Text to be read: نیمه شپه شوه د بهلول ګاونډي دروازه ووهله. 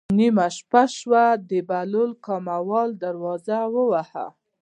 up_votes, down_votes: 1, 2